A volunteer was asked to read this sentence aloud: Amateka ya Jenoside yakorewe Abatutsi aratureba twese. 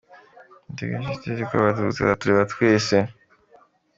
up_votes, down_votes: 2, 0